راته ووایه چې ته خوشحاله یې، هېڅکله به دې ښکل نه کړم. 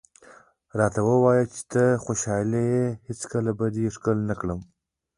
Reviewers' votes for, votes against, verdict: 2, 1, accepted